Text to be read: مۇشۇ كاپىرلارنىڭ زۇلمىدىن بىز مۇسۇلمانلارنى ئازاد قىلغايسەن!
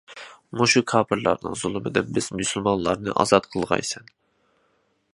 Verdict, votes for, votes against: accepted, 2, 0